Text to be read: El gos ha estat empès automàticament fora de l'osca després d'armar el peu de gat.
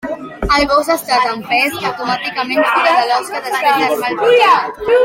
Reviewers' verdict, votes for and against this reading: rejected, 0, 2